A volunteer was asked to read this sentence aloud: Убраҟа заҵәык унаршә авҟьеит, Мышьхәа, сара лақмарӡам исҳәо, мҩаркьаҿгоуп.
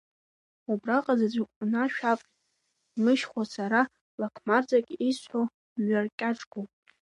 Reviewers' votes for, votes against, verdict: 2, 0, accepted